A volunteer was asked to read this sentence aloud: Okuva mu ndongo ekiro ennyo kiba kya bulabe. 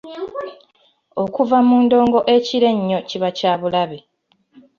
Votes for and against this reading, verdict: 2, 0, accepted